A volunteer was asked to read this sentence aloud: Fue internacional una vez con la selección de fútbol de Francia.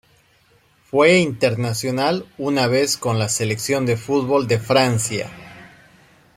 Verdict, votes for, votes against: accepted, 2, 0